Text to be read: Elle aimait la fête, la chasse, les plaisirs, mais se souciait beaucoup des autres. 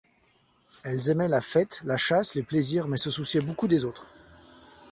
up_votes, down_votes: 0, 2